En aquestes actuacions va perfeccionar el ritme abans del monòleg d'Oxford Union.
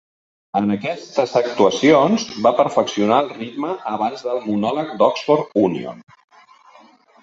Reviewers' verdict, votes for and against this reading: accepted, 3, 0